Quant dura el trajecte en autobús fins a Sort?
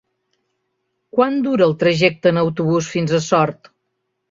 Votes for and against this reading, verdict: 3, 0, accepted